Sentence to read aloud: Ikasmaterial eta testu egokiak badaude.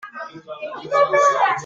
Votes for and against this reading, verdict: 0, 2, rejected